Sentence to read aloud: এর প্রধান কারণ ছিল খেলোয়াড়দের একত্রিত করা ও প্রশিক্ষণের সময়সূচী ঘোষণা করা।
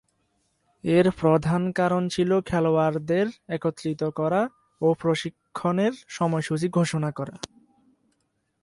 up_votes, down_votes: 0, 2